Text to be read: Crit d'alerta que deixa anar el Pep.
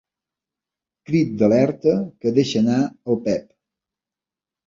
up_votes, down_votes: 3, 0